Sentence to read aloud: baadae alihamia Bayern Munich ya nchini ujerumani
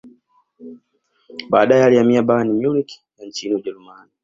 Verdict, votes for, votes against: accepted, 2, 1